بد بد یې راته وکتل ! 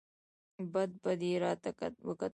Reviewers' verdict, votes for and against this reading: rejected, 1, 2